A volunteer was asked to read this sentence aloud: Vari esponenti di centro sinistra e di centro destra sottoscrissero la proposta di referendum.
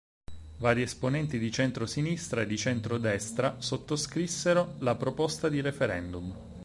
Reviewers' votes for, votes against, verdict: 4, 0, accepted